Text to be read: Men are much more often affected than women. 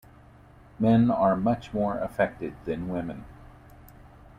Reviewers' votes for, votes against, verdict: 1, 2, rejected